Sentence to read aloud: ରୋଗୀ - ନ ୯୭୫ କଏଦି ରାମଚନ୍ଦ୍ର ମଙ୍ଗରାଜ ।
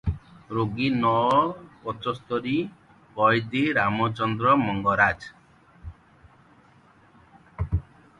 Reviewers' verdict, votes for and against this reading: rejected, 0, 2